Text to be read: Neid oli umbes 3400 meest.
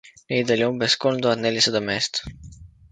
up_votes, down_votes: 0, 2